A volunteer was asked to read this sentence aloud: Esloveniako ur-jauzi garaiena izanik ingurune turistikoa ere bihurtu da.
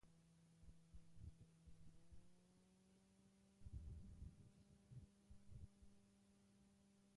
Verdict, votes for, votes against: rejected, 0, 2